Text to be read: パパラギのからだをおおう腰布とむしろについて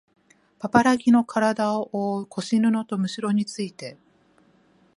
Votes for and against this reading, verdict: 12, 0, accepted